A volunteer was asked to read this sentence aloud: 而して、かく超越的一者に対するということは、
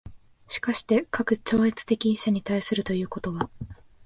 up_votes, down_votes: 2, 0